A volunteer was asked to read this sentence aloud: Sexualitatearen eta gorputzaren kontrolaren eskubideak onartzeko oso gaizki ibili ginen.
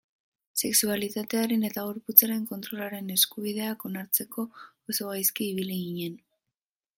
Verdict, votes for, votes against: rejected, 2, 5